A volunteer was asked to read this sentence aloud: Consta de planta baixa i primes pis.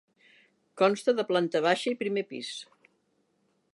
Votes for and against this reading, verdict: 1, 2, rejected